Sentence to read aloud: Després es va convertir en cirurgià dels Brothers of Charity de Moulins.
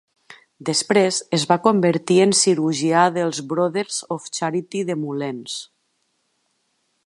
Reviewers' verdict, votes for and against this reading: accepted, 2, 1